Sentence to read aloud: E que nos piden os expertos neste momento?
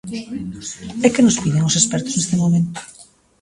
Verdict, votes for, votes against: accepted, 2, 0